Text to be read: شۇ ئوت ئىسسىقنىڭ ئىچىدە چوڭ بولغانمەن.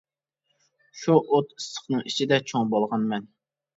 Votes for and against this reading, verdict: 2, 0, accepted